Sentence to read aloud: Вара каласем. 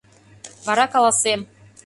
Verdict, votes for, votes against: accepted, 2, 0